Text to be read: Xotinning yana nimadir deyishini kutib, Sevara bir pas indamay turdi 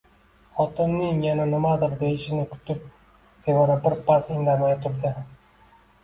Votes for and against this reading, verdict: 2, 1, accepted